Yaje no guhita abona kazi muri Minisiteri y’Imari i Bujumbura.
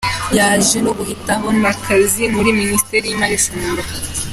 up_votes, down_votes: 2, 1